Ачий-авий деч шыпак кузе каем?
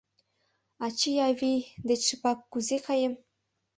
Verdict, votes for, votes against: accepted, 2, 0